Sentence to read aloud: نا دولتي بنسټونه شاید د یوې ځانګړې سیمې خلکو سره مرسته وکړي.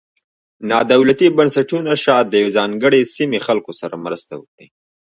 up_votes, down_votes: 1, 2